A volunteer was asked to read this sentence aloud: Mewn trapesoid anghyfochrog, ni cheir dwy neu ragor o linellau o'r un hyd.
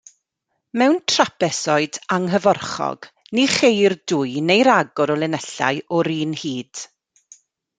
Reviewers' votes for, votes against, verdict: 1, 2, rejected